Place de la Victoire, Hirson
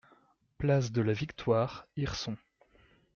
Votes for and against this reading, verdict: 2, 0, accepted